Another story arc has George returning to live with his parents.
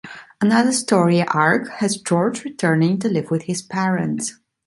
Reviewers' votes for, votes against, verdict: 2, 0, accepted